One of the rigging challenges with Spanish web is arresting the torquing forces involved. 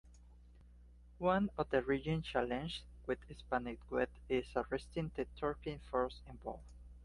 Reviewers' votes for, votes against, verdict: 0, 2, rejected